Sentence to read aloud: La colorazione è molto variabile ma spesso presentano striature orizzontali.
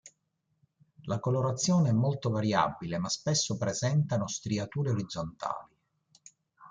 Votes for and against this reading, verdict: 2, 0, accepted